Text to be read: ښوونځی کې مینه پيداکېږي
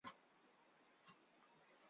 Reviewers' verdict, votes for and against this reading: rejected, 0, 3